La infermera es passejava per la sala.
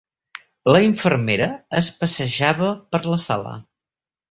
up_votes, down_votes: 1, 2